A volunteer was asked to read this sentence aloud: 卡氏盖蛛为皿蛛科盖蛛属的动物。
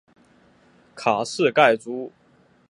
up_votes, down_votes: 2, 4